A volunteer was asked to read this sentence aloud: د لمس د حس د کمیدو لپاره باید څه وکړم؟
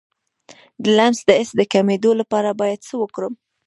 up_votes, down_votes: 1, 2